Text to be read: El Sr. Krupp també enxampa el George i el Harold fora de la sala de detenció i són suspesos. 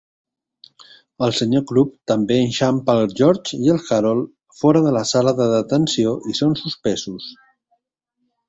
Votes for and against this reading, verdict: 2, 0, accepted